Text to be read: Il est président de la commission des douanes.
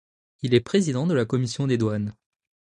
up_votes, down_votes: 2, 0